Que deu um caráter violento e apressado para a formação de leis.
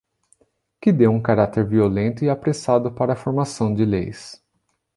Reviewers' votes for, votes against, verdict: 2, 0, accepted